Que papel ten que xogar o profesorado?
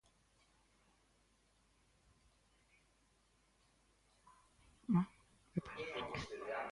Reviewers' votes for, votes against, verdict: 0, 2, rejected